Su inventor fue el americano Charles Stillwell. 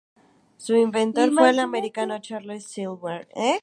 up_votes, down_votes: 0, 2